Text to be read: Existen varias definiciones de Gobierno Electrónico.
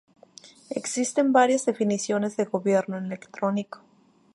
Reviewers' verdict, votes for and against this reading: rejected, 2, 2